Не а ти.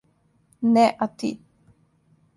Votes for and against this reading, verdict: 2, 0, accepted